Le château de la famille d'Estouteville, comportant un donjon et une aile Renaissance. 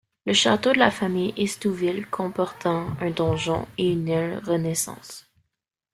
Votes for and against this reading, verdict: 0, 2, rejected